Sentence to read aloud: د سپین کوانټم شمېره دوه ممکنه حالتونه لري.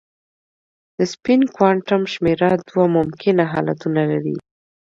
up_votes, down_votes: 2, 0